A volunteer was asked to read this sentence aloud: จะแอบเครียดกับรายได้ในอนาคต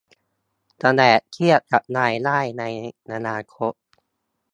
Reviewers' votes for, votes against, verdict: 2, 0, accepted